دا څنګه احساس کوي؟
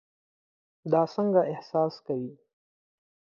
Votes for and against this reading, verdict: 6, 0, accepted